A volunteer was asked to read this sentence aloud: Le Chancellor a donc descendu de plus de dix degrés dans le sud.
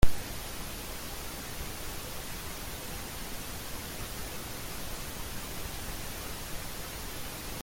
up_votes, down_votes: 0, 2